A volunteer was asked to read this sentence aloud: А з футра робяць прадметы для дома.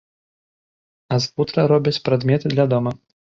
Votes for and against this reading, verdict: 4, 0, accepted